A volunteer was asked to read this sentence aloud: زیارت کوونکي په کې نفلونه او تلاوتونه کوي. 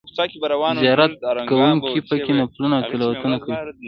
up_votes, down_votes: 0, 2